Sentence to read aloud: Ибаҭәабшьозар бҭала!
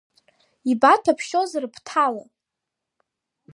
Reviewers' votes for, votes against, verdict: 1, 2, rejected